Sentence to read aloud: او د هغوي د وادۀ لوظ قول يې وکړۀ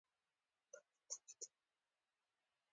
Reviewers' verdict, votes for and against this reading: accepted, 2, 0